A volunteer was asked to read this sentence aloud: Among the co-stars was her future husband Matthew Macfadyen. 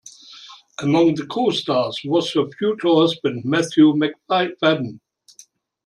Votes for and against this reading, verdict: 0, 2, rejected